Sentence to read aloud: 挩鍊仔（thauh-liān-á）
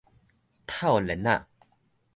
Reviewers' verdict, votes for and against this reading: rejected, 1, 2